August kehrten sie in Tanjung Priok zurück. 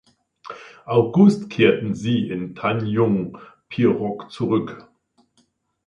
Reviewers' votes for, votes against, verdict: 1, 2, rejected